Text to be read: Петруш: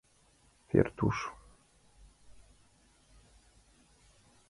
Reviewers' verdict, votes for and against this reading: rejected, 1, 2